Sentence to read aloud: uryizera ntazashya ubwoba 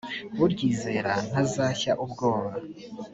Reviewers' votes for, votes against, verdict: 3, 1, accepted